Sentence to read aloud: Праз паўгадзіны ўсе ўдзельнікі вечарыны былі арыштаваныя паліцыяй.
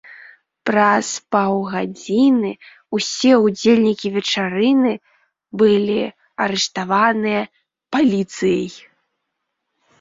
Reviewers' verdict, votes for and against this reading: accepted, 2, 1